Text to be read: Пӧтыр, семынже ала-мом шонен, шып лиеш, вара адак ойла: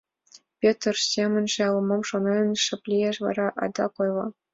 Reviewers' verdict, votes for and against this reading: accepted, 3, 0